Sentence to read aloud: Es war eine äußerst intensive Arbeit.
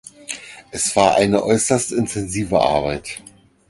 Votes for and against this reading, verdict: 4, 0, accepted